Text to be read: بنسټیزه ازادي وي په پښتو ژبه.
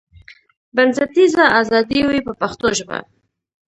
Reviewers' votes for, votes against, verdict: 0, 2, rejected